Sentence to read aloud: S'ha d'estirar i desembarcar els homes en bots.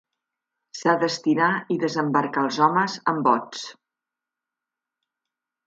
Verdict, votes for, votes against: accepted, 2, 0